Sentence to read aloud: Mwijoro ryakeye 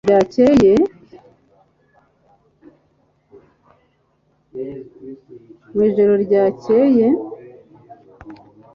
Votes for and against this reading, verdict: 0, 2, rejected